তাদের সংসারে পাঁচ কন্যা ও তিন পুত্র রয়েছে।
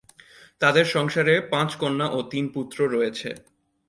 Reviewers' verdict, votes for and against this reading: accepted, 2, 0